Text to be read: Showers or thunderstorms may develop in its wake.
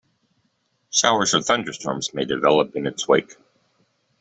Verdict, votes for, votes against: accepted, 2, 0